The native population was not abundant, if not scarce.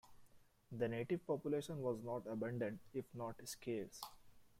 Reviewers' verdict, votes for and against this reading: accepted, 2, 0